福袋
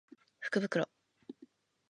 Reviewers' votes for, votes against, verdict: 2, 0, accepted